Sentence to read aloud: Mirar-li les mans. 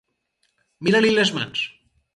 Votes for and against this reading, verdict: 4, 2, accepted